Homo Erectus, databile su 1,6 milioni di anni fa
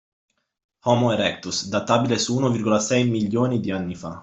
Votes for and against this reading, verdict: 0, 2, rejected